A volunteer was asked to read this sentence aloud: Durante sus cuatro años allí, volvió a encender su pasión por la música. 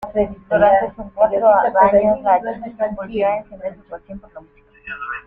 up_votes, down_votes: 0, 2